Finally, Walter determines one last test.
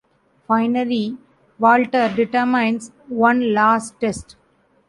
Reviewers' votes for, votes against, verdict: 0, 2, rejected